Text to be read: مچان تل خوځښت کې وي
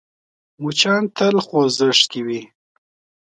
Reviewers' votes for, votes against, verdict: 2, 0, accepted